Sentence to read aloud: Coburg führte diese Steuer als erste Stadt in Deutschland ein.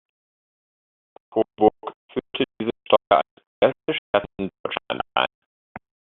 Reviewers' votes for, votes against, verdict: 0, 2, rejected